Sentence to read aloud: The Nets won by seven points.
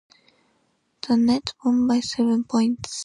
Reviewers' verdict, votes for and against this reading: accepted, 2, 0